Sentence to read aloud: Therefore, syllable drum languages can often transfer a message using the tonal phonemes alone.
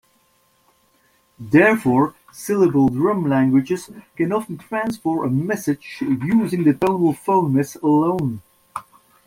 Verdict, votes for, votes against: rejected, 1, 2